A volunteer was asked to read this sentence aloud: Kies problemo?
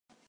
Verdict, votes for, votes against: accepted, 2, 0